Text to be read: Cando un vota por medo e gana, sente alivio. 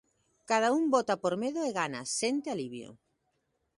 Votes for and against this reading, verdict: 0, 2, rejected